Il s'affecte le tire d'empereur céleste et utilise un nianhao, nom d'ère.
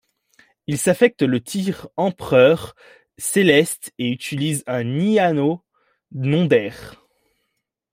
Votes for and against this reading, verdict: 0, 2, rejected